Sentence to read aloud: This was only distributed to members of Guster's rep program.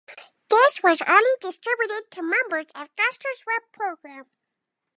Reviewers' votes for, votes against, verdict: 0, 2, rejected